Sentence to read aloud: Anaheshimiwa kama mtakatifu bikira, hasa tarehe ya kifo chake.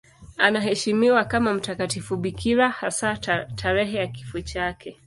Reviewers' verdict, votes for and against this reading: accepted, 2, 0